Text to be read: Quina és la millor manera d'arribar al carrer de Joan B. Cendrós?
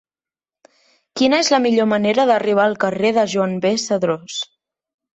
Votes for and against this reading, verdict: 1, 2, rejected